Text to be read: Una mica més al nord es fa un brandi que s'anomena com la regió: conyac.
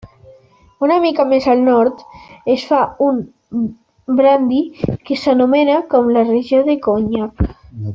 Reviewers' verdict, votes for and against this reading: rejected, 1, 2